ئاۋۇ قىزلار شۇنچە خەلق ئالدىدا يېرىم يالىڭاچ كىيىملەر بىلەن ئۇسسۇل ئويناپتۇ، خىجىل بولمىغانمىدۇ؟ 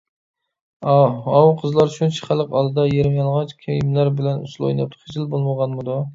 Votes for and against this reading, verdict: 1, 2, rejected